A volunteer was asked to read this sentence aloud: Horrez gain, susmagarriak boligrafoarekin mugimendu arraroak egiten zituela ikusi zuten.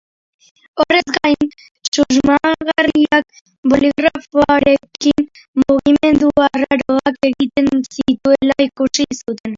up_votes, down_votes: 1, 3